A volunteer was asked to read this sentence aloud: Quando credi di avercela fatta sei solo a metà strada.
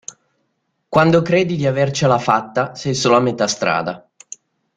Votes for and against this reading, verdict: 2, 0, accepted